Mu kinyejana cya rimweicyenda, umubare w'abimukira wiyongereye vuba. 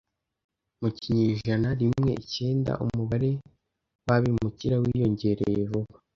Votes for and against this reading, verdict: 1, 2, rejected